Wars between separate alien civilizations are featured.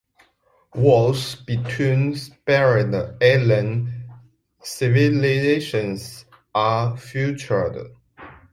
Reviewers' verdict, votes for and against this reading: rejected, 0, 2